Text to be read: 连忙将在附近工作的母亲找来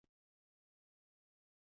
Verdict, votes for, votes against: rejected, 1, 3